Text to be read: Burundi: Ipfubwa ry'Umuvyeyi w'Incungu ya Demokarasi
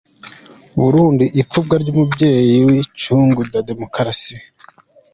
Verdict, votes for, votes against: accepted, 2, 1